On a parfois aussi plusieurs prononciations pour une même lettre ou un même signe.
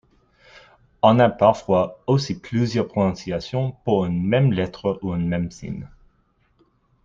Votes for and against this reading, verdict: 2, 0, accepted